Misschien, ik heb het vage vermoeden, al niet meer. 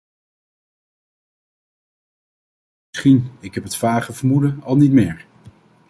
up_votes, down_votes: 0, 2